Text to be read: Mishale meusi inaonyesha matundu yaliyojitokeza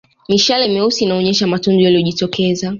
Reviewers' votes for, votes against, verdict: 2, 0, accepted